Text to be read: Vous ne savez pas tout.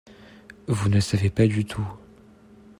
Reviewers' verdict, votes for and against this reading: rejected, 1, 2